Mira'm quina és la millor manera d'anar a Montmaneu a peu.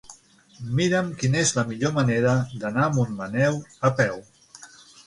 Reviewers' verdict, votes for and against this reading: accepted, 9, 0